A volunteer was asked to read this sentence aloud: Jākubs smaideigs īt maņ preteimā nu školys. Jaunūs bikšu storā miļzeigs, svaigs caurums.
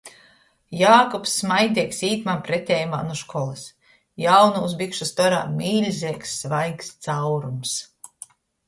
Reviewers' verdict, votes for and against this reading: accepted, 2, 0